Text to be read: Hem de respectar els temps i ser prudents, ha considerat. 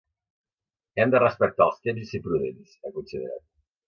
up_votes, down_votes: 2, 0